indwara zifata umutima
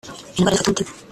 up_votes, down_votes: 1, 2